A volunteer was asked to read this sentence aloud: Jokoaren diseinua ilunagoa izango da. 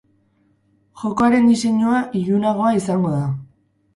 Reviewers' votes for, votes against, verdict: 0, 2, rejected